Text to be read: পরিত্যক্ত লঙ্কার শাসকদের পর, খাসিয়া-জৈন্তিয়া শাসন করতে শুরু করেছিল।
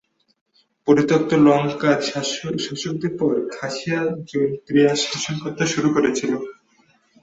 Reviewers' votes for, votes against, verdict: 4, 3, accepted